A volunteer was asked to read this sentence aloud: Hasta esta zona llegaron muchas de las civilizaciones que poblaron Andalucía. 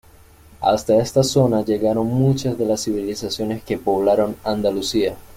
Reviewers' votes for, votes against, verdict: 2, 0, accepted